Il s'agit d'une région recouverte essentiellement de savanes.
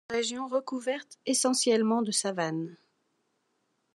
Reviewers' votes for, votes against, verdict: 0, 2, rejected